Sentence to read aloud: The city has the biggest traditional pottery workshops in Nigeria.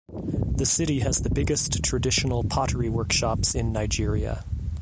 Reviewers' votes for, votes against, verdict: 2, 0, accepted